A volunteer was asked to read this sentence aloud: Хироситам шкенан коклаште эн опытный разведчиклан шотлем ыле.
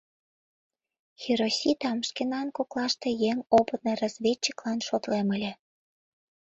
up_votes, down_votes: 2, 4